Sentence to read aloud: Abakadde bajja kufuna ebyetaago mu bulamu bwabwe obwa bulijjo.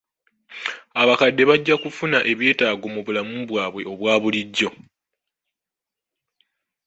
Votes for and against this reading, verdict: 2, 0, accepted